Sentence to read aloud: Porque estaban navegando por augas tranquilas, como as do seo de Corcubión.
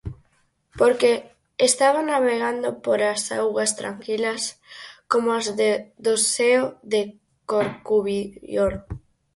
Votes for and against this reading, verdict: 0, 4, rejected